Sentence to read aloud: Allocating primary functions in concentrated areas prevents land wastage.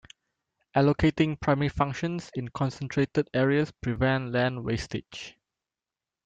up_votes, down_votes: 1, 2